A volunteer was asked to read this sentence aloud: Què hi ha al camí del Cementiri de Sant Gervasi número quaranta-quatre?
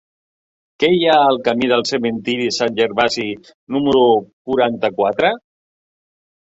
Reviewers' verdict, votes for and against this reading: rejected, 1, 2